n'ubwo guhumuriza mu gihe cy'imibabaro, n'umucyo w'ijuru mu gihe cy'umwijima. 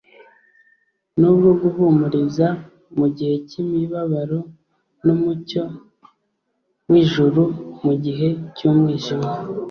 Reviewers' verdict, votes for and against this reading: accepted, 2, 0